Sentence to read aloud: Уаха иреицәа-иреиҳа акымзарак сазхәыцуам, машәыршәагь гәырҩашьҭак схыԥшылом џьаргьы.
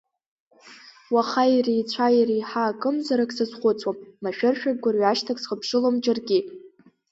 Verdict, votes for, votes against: accepted, 5, 0